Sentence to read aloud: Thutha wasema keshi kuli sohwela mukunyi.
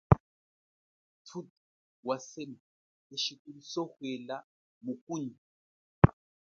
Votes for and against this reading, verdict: 0, 2, rejected